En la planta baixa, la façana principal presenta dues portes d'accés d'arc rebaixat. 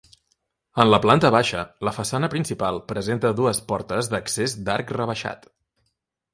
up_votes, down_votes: 2, 0